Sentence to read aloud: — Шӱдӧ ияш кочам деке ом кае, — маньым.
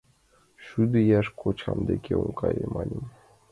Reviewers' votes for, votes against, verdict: 2, 0, accepted